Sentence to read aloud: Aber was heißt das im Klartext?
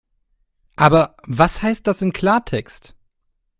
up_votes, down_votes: 2, 0